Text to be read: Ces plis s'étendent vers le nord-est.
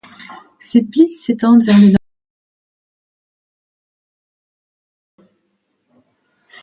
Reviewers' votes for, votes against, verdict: 0, 2, rejected